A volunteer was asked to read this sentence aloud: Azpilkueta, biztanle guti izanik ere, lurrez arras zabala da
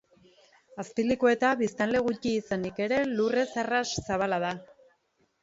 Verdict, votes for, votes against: rejected, 1, 2